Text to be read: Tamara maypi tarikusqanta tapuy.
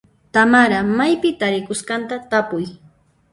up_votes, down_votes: 0, 2